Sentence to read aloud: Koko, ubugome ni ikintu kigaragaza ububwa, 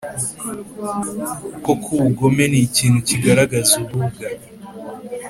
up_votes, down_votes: 3, 0